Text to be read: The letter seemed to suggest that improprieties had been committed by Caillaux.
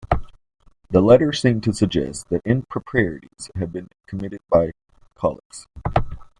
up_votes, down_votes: 2, 0